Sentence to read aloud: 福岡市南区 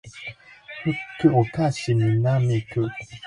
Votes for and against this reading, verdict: 5, 6, rejected